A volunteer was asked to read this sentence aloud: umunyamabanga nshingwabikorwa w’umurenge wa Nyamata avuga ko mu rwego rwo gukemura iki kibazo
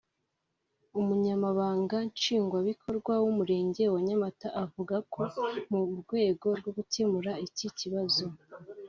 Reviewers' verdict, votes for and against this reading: rejected, 1, 2